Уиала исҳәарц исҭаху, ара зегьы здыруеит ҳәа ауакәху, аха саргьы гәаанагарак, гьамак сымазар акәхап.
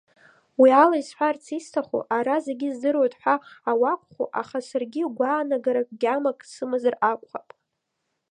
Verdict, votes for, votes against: accepted, 2, 0